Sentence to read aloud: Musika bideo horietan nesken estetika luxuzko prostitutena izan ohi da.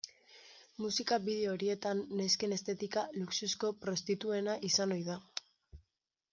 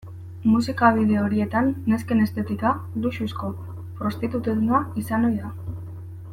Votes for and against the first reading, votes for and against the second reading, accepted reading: 1, 2, 2, 0, second